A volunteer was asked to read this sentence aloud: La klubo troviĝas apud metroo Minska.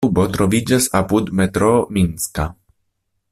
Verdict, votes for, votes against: rejected, 0, 2